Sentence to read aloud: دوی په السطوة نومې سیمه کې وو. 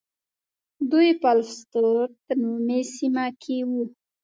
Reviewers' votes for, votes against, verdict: 1, 2, rejected